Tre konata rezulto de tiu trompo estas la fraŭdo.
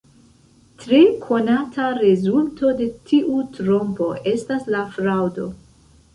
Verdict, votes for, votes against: rejected, 1, 2